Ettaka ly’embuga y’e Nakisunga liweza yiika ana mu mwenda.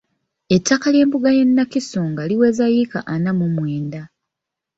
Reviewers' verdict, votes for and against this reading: rejected, 1, 2